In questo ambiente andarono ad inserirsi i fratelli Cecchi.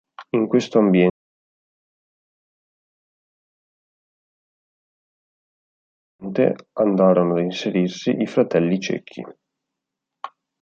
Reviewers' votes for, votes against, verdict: 0, 2, rejected